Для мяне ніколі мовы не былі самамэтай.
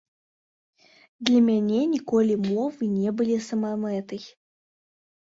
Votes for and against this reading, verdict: 2, 1, accepted